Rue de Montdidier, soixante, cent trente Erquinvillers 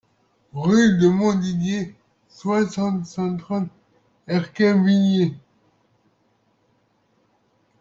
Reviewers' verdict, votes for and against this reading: accepted, 2, 0